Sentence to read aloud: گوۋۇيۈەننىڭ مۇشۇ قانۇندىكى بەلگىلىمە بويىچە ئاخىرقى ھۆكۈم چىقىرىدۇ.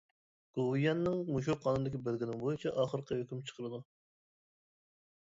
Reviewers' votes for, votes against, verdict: 1, 2, rejected